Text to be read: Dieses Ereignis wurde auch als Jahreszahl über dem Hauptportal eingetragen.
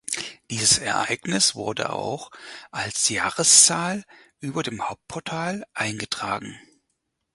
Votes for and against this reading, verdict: 6, 0, accepted